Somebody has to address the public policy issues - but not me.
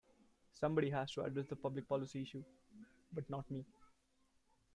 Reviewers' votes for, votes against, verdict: 1, 2, rejected